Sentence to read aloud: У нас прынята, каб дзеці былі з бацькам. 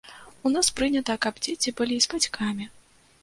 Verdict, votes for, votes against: rejected, 1, 2